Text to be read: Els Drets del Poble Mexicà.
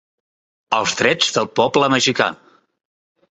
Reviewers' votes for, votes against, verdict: 1, 2, rejected